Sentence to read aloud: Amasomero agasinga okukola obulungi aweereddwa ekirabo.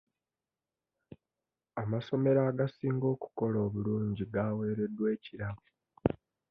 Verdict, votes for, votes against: rejected, 0, 2